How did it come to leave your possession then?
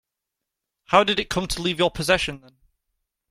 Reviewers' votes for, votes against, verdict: 0, 2, rejected